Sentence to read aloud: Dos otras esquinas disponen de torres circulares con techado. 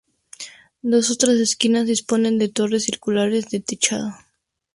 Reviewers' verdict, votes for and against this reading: rejected, 0, 2